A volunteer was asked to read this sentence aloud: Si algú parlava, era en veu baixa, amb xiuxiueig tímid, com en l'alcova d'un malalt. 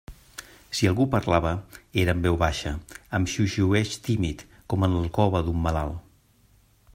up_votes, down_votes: 2, 0